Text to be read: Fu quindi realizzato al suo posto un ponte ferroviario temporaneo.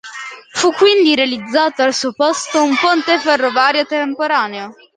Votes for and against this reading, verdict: 0, 2, rejected